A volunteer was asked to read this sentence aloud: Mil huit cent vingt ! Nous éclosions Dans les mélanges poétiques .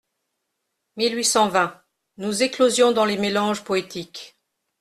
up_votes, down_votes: 2, 0